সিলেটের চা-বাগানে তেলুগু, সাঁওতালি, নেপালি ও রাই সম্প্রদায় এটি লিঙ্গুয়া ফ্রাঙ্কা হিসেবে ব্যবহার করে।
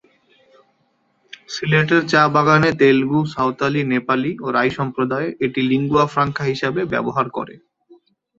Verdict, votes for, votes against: accepted, 2, 0